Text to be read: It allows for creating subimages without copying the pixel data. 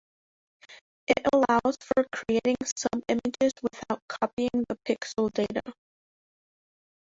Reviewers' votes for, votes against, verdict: 0, 2, rejected